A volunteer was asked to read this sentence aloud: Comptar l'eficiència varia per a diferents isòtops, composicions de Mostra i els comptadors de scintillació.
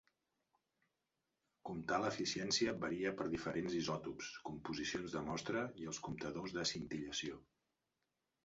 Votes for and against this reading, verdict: 0, 2, rejected